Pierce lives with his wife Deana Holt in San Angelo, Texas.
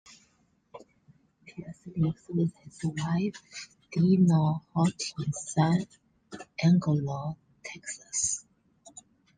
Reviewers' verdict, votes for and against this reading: rejected, 0, 2